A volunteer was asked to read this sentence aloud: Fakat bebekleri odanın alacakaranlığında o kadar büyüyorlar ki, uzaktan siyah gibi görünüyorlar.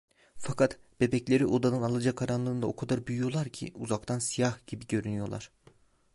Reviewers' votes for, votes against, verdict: 2, 0, accepted